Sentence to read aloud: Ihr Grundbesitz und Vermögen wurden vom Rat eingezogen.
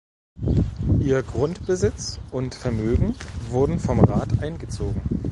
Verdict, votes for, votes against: rejected, 0, 2